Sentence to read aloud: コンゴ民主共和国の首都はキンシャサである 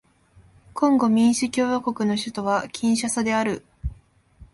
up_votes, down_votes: 2, 0